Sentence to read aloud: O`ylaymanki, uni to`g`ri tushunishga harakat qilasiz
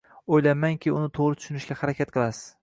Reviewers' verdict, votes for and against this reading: accepted, 2, 0